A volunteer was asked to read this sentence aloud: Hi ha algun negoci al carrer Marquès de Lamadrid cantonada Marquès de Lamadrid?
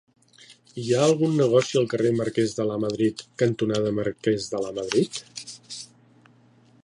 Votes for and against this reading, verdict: 3, 1, accepted